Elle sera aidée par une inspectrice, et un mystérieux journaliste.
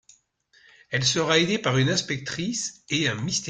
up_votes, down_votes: 0, 2